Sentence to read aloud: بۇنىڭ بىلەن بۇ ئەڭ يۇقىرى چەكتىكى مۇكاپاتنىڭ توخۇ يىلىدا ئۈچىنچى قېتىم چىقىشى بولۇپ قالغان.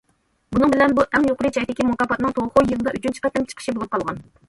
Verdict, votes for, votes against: accepted, 2, 1